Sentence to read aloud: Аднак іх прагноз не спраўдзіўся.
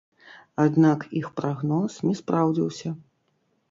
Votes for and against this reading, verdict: 0, 2, rejected